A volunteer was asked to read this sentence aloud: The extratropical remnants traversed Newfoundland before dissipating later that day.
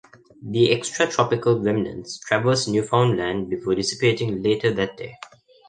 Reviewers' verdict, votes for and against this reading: accepted, 2, 1